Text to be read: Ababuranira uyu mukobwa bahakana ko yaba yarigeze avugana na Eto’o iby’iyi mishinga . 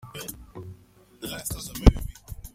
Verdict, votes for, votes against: rejected, 0, 2